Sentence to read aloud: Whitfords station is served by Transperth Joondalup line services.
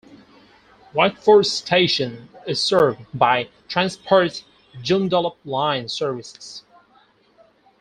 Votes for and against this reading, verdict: 2, 4, rejected